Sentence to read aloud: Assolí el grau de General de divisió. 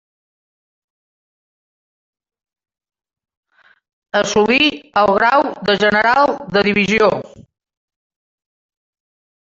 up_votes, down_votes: 0, 2